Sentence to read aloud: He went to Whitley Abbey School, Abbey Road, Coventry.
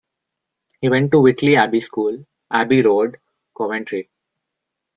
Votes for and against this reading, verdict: 0, 2, rejected